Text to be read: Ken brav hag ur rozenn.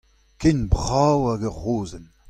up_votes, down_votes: 2, 0